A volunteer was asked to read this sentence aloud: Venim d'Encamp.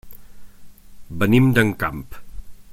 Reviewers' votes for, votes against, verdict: 2, 0, accepted